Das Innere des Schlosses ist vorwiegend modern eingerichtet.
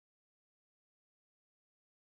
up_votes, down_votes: 0, 2